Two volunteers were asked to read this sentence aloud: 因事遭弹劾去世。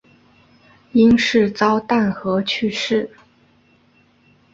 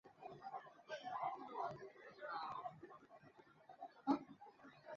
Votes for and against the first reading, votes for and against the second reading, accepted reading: 2, 0, 0, 2, first